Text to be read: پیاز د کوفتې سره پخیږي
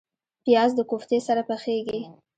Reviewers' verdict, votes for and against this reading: accepted, 2, 1